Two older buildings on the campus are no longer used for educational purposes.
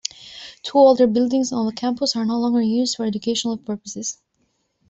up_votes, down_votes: 2, 0